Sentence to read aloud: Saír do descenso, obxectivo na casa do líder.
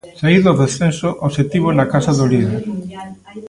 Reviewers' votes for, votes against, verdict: 1, 2, rejected